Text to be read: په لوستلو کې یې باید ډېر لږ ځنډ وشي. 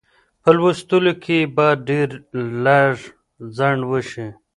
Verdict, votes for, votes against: rejected, 1, 2